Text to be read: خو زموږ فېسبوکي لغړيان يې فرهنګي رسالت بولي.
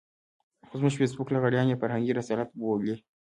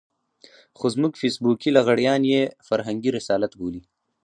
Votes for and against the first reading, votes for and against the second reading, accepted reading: 2, 1, 2, 2, first